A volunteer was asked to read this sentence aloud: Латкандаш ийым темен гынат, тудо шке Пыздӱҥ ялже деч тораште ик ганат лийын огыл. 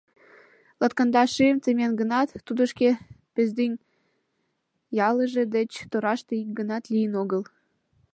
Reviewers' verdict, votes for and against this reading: rejected, 2, 4